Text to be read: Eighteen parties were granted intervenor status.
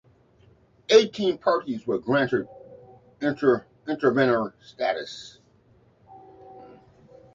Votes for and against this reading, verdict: 0, 2, rejected